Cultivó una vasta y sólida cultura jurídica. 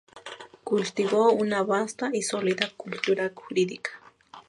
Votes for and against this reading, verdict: 2, 0, accepted